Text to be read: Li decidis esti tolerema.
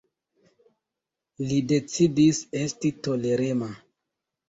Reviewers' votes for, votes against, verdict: 2, 0, accepted